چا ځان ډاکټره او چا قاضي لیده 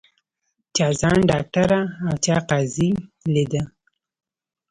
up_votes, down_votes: 2, 0